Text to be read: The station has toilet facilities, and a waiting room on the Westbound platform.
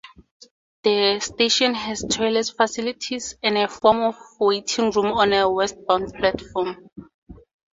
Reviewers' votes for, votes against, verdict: 2, 4, rejected